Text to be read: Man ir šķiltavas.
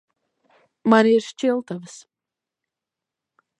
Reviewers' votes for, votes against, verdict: 1, 2, rejected